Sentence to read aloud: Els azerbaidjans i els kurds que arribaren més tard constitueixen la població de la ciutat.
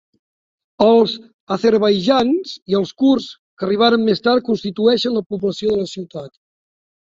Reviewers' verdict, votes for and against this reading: rejected, 1, 2